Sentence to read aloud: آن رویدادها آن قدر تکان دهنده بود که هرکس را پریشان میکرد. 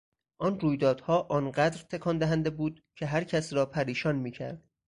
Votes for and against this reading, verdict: 4, 0, accepted